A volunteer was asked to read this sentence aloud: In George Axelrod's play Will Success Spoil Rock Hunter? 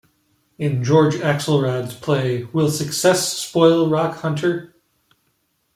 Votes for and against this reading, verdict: 2, 0, accepted